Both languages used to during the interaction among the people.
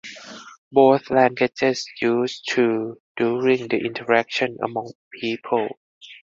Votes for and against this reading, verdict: 0, 4, rejected